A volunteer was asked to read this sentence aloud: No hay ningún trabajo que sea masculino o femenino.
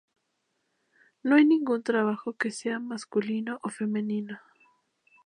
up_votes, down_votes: 2, 0